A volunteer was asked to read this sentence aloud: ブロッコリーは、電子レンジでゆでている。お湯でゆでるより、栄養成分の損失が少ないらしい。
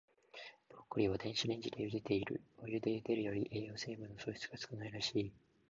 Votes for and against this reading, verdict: 2, 1, accepted